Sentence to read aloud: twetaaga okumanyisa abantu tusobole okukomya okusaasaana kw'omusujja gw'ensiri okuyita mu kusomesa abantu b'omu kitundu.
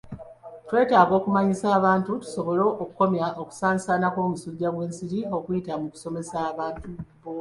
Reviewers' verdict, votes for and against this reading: rejected, 0, 2